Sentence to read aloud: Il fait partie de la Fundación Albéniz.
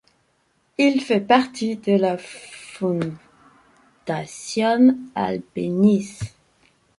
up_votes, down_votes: 1, 2